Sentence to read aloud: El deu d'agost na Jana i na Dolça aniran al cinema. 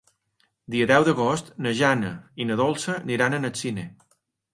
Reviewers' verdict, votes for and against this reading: rejected, 1, 2